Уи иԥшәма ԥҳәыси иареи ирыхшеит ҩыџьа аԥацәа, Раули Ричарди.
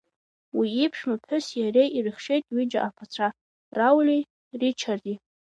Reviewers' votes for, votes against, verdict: 2, 0, accepted